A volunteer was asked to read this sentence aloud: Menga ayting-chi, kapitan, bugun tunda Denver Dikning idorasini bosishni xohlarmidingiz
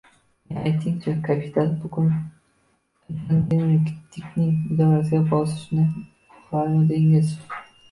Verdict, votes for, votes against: rejected, 0, 2